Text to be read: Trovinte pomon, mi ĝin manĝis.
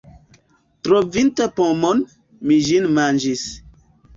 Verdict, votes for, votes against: rejected, 1, 2